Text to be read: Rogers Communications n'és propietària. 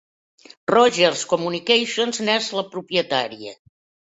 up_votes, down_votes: 1, 2